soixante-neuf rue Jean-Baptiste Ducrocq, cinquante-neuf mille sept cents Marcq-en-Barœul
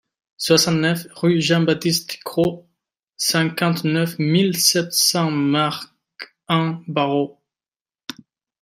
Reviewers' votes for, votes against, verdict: 0, 2, rejected